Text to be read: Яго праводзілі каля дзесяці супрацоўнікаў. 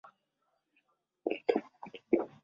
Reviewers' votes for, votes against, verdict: 0, 2, rejected